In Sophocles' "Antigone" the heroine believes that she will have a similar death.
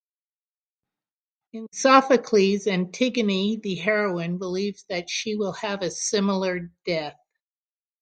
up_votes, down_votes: 3, 3